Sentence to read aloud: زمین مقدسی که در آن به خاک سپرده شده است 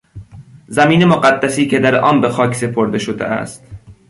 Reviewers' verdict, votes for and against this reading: accepted, 2, 0